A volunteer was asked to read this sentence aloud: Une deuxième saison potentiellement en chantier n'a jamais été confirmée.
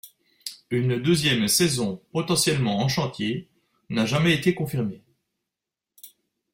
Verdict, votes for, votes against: accepted, 2, 0